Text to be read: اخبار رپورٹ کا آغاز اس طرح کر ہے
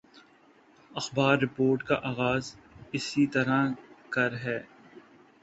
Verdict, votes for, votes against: accepted, 2, 1